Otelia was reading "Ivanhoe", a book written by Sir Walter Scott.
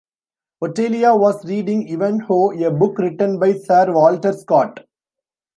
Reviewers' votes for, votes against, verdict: 2, 0, accepted